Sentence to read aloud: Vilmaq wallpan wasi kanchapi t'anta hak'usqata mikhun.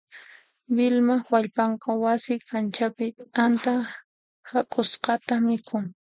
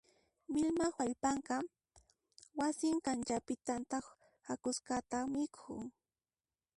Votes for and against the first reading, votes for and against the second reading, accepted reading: 2, 0, 1, 2, first